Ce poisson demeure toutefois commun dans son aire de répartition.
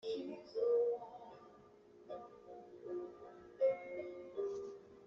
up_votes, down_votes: 0, 2